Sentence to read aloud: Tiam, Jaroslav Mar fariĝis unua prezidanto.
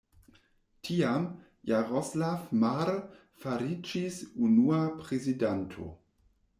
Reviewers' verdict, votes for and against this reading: accepted, 2, 0